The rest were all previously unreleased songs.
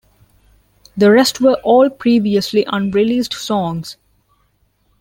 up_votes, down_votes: 3, 0